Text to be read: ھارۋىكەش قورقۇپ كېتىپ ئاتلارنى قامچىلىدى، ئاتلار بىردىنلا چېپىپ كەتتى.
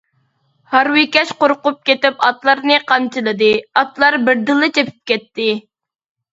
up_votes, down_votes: 2, 0